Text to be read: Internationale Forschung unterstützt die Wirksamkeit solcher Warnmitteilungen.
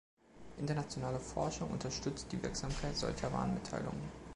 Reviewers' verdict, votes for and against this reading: accepted, 2, 0